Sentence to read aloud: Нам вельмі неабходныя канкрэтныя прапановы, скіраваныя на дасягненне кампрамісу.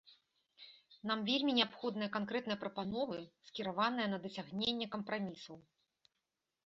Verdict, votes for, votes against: accepted, 2, 0